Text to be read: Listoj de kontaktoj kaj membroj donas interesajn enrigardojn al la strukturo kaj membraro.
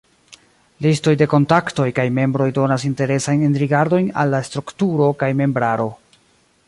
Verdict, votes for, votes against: rejected, 0, 2